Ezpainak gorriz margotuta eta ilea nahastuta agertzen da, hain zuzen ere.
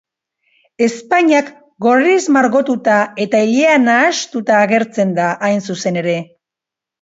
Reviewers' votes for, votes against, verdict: 2, 1, accepted